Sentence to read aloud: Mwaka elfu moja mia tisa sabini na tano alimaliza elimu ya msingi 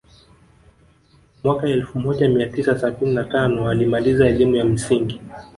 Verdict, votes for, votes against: rejected, 0, 2